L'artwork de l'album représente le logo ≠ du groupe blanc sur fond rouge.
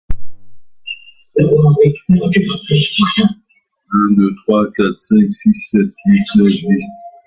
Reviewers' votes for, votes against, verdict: 0, 2, rejected